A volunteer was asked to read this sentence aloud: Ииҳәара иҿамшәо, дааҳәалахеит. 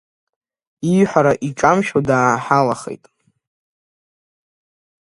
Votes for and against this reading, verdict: 1, 2, rejected